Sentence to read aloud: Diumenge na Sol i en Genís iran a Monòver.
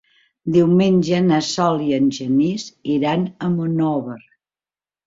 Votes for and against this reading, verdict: 5, 0, accepted